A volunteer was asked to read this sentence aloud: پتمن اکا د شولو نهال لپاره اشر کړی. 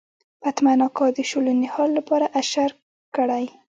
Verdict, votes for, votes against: rejected, 0, 2